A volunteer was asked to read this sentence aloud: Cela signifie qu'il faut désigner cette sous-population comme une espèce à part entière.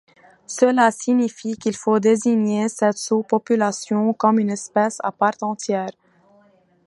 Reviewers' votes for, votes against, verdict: 2, 0, accepted